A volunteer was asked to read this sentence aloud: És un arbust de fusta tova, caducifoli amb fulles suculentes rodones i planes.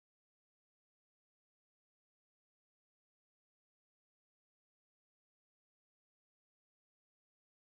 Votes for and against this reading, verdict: 0, 2, rejected